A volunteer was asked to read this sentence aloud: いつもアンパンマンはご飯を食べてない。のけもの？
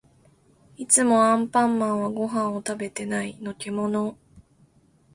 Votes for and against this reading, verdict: 2, 0, accepted